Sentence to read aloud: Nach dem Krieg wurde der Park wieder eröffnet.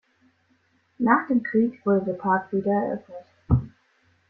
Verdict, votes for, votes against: accepted, 2, 0